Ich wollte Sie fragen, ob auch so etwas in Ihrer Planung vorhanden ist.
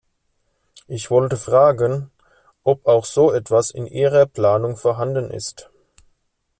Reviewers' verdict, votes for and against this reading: rejected, 0, 2